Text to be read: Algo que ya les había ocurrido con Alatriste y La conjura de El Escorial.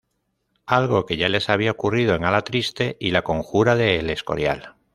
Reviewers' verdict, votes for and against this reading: rejected, 0, 2